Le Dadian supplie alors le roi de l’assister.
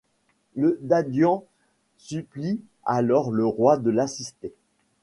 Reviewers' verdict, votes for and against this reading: accepted, 2, 0